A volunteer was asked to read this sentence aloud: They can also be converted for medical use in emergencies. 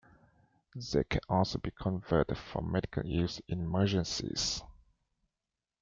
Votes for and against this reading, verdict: 2, 1, accepted